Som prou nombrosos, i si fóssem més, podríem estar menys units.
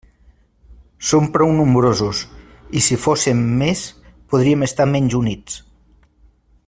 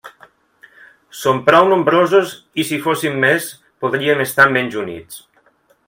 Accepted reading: first